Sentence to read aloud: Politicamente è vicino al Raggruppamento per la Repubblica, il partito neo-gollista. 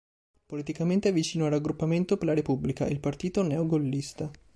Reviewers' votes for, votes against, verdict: 2, 0, accepted